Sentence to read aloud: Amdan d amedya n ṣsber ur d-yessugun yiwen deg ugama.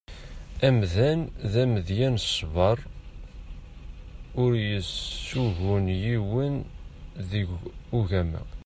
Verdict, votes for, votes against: rejected, 1, 2